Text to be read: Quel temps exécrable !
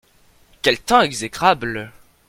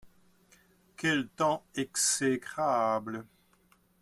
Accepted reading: first